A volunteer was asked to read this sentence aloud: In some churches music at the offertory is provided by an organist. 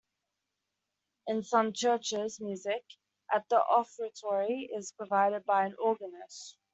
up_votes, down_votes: 2, 0